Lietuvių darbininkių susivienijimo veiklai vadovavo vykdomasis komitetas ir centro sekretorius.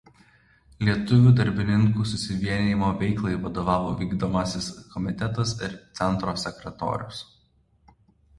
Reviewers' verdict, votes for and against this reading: accepted, 2, 1